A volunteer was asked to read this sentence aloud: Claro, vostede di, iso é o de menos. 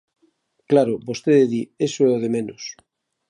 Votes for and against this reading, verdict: 1, 2, rejected